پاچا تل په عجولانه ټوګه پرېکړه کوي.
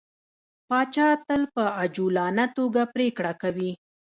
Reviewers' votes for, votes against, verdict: 1, 2, rejected